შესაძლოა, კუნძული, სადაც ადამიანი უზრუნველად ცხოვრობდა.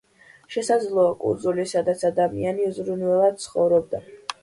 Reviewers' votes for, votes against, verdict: 2, 0, accepted